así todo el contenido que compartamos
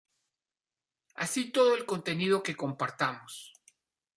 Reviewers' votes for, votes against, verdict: 2, 0, accepted